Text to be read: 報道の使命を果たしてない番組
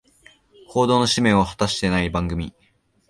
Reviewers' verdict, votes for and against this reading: accepted, 2, 1